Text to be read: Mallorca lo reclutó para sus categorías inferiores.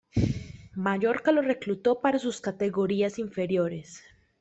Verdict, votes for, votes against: rejected, 1, 2